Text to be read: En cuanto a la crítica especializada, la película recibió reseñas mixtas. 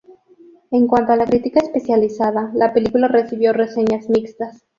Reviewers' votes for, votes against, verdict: 2, 2, rejected